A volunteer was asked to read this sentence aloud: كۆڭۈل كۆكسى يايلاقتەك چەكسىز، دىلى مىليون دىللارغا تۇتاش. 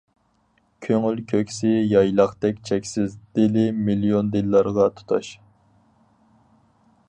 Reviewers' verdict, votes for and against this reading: accepted, 4, 0